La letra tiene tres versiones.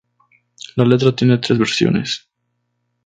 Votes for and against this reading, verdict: 4, 0, accepted